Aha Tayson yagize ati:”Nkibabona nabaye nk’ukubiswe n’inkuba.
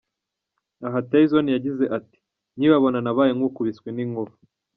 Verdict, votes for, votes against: accepted, 2, 0